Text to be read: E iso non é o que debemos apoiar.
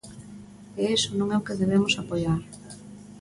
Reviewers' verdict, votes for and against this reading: accepted, 2, 1